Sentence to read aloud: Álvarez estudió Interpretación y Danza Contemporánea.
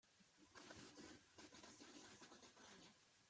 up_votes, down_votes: 0, 2